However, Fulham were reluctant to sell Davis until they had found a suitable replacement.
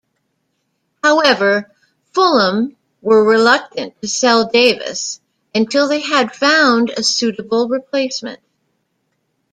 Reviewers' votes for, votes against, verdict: 2, 0, accepted